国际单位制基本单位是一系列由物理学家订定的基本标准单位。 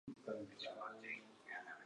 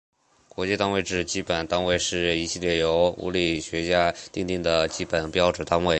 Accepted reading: second